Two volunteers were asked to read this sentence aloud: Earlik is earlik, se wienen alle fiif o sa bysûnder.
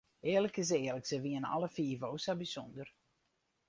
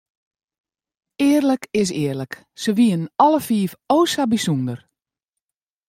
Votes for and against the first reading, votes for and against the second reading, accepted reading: 2, 2, 2, 0, second